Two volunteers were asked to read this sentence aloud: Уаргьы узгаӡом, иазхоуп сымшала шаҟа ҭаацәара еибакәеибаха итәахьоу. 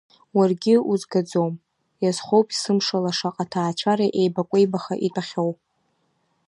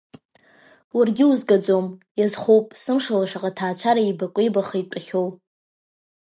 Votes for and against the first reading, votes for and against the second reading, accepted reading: 2, 0, 0, 2, first